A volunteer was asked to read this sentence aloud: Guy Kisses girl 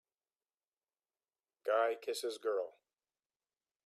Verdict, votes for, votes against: accepted, 3, 0